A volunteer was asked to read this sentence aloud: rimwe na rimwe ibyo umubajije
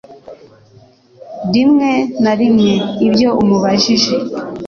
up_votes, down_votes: 2, 0